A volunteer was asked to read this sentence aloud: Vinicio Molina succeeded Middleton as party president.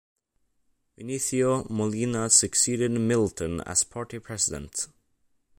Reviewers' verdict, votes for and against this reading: accepted, 2, 0